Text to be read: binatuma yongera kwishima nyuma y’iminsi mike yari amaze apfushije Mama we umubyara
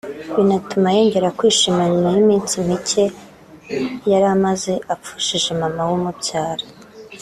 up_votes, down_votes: 2, 1